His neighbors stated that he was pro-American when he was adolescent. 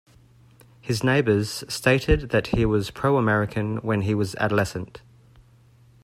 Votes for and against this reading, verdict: 2, 0, accepted